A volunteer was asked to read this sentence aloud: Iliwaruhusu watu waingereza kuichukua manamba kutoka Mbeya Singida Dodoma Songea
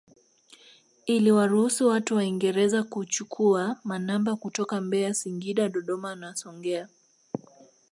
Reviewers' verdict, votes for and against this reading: accepted, 2, 0